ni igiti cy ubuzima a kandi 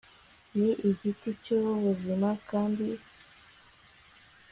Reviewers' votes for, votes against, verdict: 1, 2, rejected